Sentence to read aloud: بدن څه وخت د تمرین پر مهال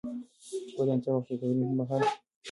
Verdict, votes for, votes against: rejected, 1, 2